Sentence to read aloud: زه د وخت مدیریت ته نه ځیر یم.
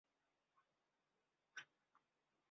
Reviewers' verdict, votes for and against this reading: rejected, 0, 2